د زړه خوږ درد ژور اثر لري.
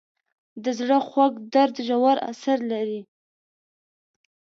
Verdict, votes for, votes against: accepted, 2, 0